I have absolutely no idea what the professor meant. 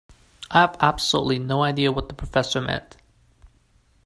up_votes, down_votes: 2, 1